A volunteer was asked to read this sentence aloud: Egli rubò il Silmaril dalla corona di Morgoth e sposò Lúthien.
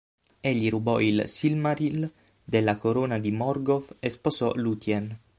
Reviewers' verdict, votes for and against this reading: rejected, 0, 6